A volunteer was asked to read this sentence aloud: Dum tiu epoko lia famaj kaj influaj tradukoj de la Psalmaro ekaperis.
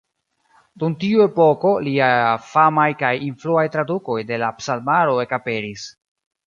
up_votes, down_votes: 0, 2